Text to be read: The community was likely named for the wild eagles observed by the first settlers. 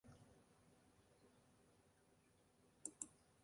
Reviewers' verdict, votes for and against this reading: rejected, 1, 3